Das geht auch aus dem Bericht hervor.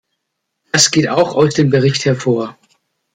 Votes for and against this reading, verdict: 2, 0, accepted